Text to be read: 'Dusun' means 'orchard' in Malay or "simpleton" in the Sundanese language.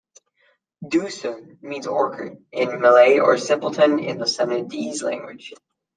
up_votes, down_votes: 0, 2